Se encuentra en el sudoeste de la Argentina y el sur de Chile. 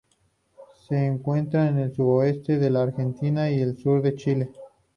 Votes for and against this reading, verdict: 2, 0, accepted